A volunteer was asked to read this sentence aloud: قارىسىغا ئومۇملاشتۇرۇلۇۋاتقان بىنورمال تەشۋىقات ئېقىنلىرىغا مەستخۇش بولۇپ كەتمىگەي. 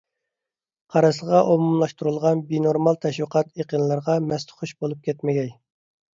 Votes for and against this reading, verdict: 1, 2, rejected